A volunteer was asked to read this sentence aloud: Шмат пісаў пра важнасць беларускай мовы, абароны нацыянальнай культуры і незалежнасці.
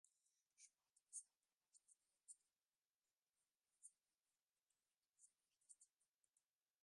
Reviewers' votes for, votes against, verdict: 0, 2, rejected